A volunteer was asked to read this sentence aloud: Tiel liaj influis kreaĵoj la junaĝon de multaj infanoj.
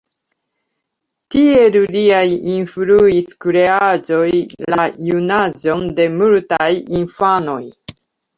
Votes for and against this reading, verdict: 1, 2, rejected